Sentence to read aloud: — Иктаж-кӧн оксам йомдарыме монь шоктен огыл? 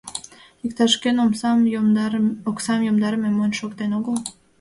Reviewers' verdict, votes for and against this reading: rejected, 1, 2